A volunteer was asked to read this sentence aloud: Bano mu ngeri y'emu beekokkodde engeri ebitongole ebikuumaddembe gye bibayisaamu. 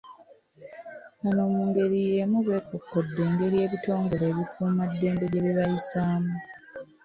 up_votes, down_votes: 2, 1